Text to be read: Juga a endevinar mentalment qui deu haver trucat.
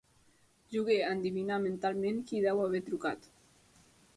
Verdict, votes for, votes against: rejected, 0, 2